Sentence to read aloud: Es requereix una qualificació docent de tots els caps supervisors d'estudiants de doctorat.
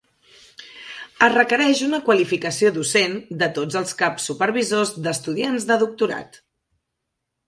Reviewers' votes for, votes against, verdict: 3, 0, accepted